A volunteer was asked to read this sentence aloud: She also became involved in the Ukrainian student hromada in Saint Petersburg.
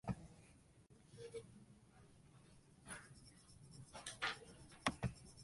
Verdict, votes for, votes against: rejected, 0, 2